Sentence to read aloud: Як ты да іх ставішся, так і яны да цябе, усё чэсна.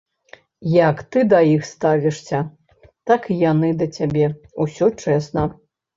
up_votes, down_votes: 1, 2